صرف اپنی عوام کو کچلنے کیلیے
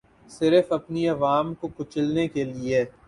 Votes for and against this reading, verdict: 4, 0, accepted